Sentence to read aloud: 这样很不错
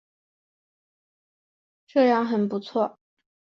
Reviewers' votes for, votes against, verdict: 2, 0, accepted